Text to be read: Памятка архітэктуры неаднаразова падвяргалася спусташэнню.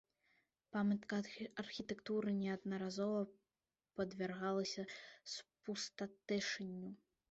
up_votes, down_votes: 0, 2